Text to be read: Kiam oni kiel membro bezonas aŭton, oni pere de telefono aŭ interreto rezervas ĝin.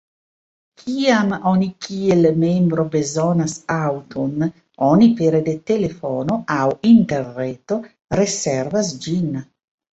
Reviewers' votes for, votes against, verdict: 1, 2, rejected